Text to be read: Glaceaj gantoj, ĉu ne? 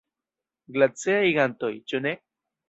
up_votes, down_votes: 1, 2